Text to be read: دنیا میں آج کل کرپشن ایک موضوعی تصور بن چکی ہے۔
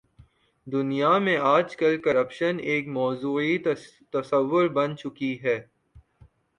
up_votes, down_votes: 1, 2